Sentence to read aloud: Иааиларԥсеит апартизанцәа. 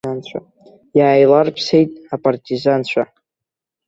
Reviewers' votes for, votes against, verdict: 1, 3, rejected